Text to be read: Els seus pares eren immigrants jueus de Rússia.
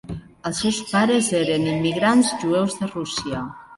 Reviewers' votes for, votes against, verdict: 3, 2, accepted